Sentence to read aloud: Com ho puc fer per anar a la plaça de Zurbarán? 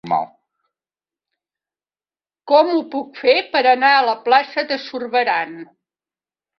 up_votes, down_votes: 2, 1